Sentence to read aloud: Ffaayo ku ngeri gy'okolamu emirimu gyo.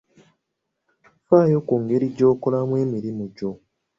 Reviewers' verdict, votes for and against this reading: accepted, 2, 0